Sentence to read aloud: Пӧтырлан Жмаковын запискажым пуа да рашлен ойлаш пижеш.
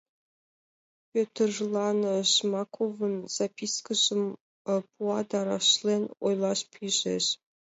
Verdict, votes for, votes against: accepted, 2, 1